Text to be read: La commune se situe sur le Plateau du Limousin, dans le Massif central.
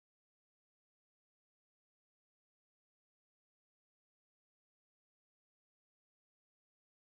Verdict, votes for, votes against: rejected, 0, 2